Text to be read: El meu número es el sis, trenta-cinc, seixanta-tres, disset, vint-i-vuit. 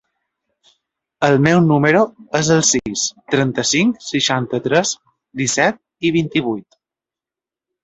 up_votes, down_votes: 0, 2